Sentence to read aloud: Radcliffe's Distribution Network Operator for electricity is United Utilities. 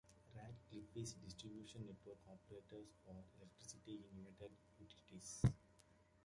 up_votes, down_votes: 0, 2